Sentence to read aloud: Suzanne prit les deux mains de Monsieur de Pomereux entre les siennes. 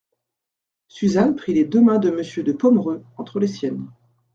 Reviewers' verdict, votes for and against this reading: accepted, 2, 0